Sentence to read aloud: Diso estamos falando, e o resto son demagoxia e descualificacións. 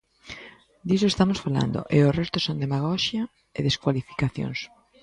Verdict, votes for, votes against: accepted, 2, 0